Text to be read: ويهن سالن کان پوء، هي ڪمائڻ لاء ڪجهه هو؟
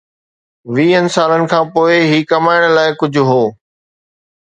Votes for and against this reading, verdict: 2, 0, accepted